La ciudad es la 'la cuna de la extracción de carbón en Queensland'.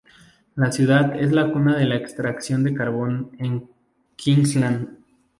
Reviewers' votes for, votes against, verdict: 0, 2, rejected